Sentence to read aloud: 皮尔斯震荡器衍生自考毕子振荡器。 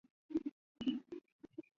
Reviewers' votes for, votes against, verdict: 0, 2, rejected